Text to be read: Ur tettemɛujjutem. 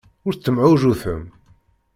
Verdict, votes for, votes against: accepted, 2, 1